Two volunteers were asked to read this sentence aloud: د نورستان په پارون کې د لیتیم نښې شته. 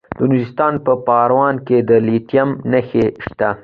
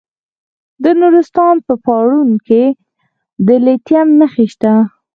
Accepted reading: first